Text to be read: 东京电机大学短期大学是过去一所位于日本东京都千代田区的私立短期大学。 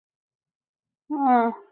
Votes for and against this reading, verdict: 0, 6, rejected